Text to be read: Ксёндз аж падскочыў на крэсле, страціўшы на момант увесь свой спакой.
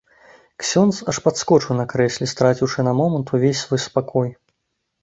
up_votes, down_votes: 2, 0